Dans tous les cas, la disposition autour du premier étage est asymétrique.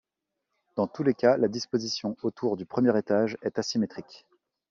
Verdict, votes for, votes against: accepted, 2, 0